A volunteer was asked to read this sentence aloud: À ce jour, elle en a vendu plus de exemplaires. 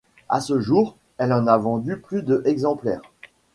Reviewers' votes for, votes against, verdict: 2, 1, accepted